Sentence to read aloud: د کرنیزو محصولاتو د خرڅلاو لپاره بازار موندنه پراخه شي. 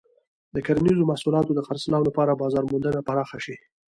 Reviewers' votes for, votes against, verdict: 2, 1, accepted